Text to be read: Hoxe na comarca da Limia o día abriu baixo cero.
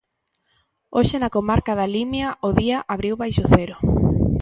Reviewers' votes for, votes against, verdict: 2, 0, accepted